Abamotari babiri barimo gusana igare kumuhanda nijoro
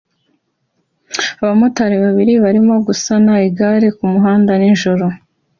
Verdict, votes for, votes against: accepted, 2, 0